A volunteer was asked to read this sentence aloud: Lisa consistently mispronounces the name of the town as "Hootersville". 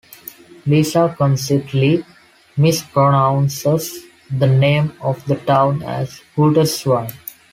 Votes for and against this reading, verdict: 1, 2, rejected